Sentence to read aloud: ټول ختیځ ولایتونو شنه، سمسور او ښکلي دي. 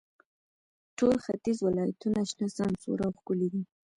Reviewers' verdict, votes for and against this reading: rejected, 1, 2